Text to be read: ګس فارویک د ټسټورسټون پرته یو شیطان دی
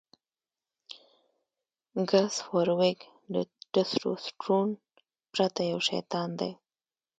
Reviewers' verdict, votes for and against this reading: rejected, 1, 2